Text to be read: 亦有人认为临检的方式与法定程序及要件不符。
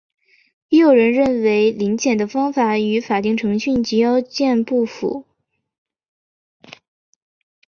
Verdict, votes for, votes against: accepted, 3, 0